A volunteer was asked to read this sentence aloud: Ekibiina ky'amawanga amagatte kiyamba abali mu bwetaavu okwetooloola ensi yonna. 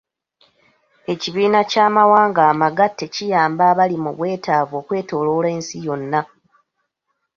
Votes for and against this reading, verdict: 2, 1, accepted